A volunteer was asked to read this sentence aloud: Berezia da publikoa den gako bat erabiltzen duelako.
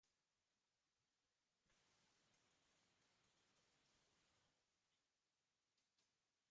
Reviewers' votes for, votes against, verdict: 0, 2, rejected